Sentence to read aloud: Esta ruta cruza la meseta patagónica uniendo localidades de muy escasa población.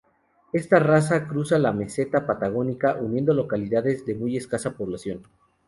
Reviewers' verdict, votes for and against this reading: rejected, 0, 2